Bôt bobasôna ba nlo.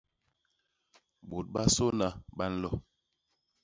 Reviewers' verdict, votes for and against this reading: rejected, 0, 2